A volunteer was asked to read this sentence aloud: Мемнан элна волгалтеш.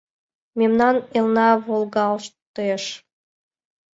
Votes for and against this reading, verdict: 1, 2, rejected